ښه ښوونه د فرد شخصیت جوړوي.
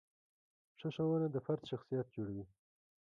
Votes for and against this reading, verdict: 2, 0, accepted